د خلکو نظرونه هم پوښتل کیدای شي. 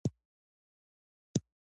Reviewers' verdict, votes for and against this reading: accepted, 2, 0